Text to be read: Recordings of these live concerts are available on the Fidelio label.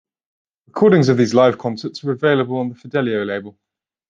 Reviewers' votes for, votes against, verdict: 0, 2, rejected